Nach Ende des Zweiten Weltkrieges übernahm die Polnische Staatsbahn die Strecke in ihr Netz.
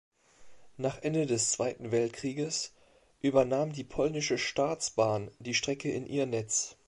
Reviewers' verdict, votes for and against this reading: accepted, 2, 0